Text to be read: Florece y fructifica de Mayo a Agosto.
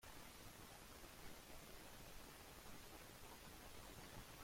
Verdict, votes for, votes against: rejected, 0, 2